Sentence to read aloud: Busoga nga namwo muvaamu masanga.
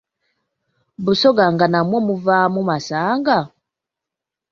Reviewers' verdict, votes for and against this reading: accepted, 2, 0